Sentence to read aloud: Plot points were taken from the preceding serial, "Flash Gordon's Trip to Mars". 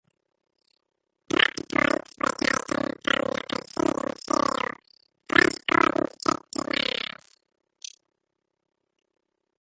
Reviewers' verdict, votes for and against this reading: rejected, 0, 2